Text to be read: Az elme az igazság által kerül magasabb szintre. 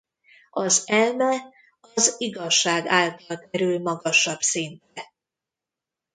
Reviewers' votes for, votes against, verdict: 1, 2, rejected